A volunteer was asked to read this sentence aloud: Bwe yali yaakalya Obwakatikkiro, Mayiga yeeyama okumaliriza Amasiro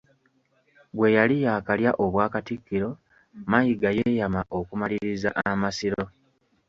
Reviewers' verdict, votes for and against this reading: accepted, 2, 0